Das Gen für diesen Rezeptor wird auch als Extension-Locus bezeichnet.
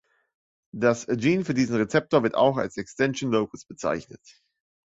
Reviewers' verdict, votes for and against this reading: rejected, 1, 2